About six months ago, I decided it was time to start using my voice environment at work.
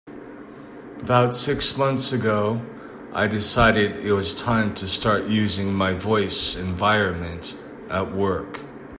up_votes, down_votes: 2, 0